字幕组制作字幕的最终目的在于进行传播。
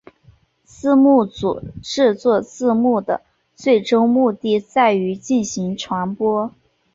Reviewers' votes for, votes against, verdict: 5, 0, accepted